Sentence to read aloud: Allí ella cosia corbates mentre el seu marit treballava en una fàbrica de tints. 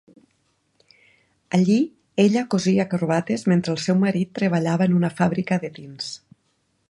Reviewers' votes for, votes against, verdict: 2, 0, accepted